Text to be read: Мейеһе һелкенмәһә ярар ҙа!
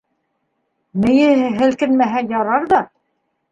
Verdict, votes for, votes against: accepted, 2, 1